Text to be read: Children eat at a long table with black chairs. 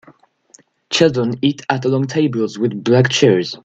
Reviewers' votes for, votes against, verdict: 2, 1, accepted